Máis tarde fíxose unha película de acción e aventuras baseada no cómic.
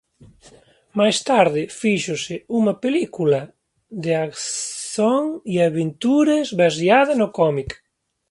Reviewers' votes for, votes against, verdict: 0, 2, rejected